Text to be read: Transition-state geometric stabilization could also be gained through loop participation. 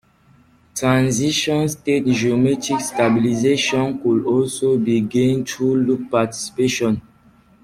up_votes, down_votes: 2, 0